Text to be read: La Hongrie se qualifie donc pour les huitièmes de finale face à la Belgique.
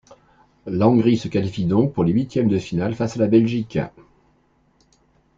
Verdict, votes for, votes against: accepted, 2, 0